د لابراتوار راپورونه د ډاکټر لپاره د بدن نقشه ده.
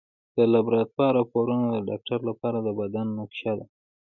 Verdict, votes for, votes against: accepted, 2, 0